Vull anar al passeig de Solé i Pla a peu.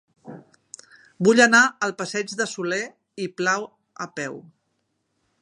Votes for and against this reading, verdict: 2, 3, rejected